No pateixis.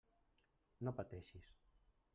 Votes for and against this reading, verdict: 1, 2, rejected